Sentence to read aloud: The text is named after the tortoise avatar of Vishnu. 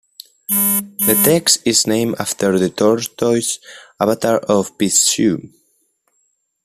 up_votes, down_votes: 0, 2